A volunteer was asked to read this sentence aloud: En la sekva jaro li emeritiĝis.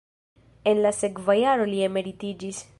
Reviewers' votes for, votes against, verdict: 0, 2, rejected